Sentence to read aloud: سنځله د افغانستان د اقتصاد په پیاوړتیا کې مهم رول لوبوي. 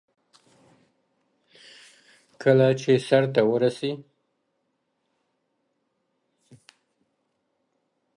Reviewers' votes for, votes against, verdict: 1, 2, rejected